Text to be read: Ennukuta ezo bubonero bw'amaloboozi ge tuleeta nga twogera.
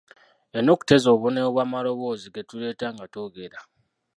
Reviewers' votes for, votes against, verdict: 0, 2, rejected